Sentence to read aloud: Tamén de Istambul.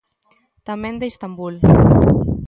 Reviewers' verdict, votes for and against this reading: accepted, 2, 0